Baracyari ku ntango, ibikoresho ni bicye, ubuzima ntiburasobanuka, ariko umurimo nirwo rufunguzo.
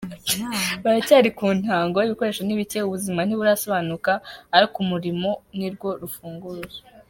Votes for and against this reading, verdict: 2, 1, accepted